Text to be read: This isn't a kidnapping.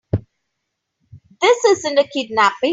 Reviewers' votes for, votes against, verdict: 2, 3, rejected